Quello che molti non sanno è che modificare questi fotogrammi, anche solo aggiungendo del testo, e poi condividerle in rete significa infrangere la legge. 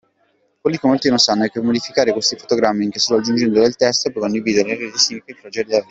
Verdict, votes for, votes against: rejected, 0, 2